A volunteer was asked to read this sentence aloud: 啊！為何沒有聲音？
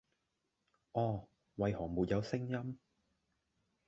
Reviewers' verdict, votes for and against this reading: rejected, 0, 2